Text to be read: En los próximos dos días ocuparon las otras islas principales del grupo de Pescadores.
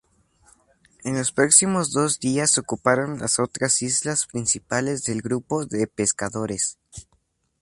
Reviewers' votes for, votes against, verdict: 2, 0, accepted